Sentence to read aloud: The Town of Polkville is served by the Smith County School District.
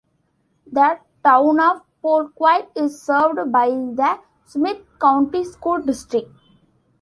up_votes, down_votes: 1, 2